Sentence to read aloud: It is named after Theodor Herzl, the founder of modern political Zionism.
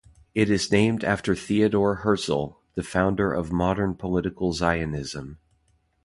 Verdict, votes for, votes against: accepted, 2, 0